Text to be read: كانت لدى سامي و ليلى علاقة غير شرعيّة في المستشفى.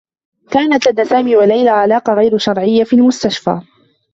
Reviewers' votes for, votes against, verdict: 1, 2, rejected